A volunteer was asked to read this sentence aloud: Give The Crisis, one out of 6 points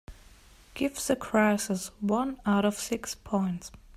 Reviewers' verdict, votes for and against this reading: rejected, 0, 2